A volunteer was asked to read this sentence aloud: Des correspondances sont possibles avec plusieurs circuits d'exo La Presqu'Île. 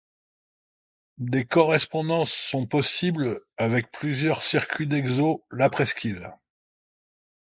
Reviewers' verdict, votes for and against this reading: accepted, 2, 0